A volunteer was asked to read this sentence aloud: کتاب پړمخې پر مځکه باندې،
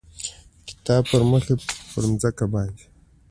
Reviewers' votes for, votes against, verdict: 2, 0, accepted